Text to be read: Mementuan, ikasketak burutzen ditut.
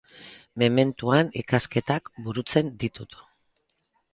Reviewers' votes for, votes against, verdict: 4, 0, accepted